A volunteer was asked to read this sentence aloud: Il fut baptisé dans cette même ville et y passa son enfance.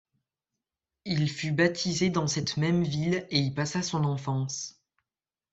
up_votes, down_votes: 2, 0